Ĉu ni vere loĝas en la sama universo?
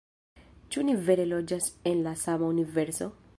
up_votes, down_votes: 2, 1